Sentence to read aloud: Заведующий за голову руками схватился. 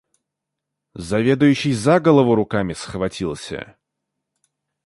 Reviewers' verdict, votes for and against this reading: accepted, 2, 0